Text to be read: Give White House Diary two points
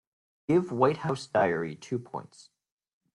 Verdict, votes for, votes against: accepted, 2, 0